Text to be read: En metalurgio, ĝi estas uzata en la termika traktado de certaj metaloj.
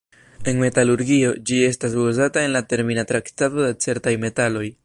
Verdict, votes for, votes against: accepted, 2, 1